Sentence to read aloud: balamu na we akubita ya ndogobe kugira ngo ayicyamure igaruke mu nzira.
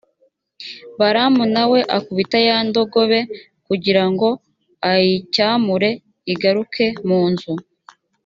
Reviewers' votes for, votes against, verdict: 0, 2, rejected